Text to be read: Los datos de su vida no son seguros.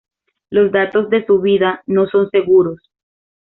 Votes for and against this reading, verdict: 2, 0, accepted